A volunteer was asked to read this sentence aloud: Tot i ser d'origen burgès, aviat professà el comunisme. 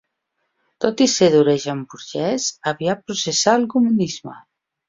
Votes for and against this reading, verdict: 3, 2, accepted